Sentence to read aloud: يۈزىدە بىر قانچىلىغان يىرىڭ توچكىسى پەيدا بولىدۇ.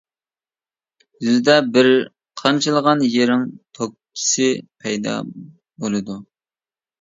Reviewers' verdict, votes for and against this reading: rejected, 0, 2